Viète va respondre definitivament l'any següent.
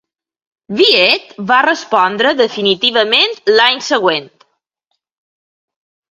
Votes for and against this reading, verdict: 2, 1, accepted